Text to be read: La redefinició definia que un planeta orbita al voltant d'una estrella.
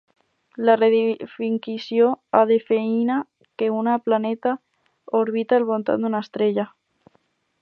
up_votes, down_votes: 0, 4